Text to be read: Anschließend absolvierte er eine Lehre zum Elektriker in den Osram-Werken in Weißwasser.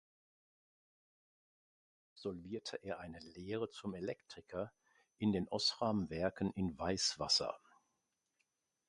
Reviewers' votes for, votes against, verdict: 0, 2, rejected